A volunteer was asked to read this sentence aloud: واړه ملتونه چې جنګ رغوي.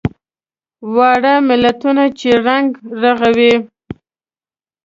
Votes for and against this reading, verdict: 0, 2, rejected